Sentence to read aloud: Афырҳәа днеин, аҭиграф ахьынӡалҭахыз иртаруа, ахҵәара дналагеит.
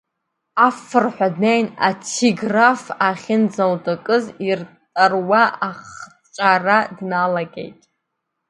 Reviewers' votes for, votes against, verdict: 0, 2, rejected